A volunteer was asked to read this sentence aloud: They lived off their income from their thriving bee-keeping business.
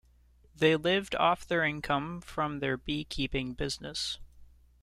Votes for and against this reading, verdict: 1, 2, rejected